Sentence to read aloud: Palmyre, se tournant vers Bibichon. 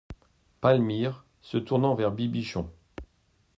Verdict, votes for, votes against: accepted, 2, 0